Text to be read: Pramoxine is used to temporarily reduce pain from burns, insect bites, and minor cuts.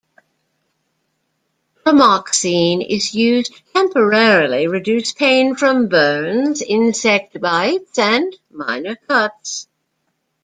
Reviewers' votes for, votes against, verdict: 1, 2, rejected